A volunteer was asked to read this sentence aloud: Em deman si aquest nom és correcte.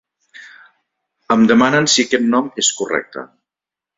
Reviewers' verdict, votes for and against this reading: rejected, 1, 3